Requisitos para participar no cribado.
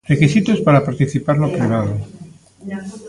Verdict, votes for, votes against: accepted, 2, 0